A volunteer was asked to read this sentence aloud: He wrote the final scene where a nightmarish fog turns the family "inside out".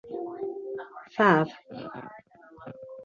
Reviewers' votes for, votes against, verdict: 0, 2, rejected